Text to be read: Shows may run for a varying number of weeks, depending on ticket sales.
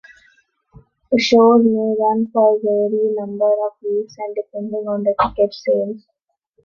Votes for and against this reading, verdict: 0, 2, rejected